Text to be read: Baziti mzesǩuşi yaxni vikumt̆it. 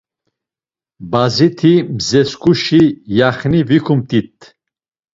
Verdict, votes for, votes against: accepted, 2, 0